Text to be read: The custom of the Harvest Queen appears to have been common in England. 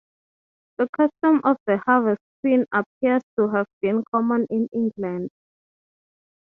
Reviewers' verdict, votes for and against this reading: accepted, 3, 0